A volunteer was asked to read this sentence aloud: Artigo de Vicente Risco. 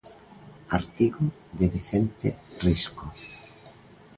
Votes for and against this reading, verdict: 2, 0, accepted